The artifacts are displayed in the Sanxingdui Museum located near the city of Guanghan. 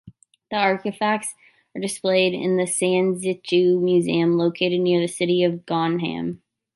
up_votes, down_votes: 0, 2